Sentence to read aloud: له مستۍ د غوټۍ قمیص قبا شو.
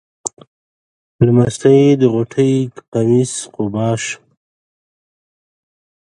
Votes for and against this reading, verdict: 2, 1, accepted